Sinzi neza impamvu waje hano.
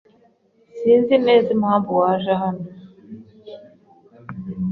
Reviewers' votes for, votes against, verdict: 2, 0, accepted